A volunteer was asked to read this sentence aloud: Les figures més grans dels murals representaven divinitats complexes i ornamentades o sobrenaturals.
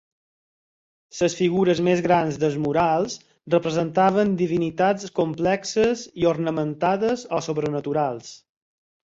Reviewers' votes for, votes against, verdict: 2, 4, rejected